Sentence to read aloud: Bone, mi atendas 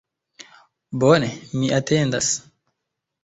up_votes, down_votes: 3, 2